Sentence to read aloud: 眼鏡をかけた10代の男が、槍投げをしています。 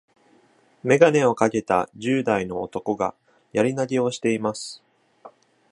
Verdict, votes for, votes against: rejected, 0, 2